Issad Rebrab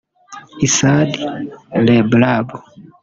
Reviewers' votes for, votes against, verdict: 1, 2, rejected